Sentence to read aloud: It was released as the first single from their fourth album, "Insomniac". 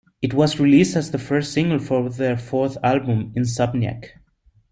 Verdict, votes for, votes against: accepted, 2, 0